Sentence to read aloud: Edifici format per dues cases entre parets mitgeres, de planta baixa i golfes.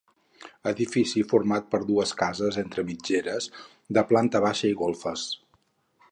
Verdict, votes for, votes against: rejected, 2, 4